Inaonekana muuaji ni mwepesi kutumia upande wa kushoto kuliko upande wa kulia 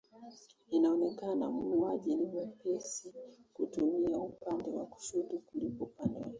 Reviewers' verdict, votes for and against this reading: rejected, 0, 2